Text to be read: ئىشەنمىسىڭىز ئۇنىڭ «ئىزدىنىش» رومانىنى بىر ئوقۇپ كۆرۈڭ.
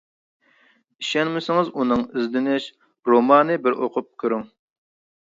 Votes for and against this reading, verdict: 0, 2, rejected